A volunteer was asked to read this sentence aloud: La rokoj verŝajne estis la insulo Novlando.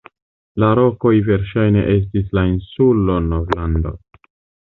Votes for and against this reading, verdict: 1, 2, rejected